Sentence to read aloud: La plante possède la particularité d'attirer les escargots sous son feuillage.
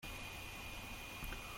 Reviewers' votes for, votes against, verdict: 0, 2, rejected